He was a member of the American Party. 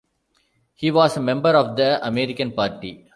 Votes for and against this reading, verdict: 2, 0, accepted